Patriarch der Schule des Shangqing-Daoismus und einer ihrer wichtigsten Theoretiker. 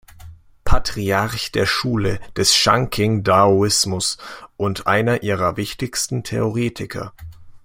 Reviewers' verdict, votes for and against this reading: accepted, 2, 0